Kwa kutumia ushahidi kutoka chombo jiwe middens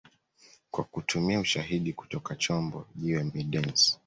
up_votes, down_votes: 2, 0